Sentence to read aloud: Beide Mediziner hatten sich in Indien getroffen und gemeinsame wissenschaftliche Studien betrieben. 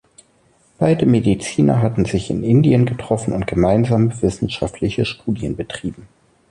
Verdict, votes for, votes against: accepted, 2, 0